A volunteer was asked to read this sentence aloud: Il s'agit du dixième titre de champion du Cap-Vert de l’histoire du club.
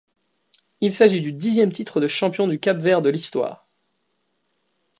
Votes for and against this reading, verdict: 2, 1, accepted